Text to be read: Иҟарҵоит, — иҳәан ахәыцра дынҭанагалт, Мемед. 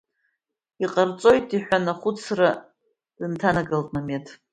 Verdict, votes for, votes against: accepted, 3, 0